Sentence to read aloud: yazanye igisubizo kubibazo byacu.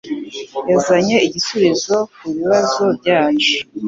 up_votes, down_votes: 2, 0